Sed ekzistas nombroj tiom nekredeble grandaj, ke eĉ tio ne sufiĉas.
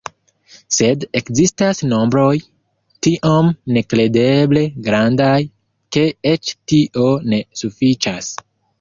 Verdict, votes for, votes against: accepted, 2, 1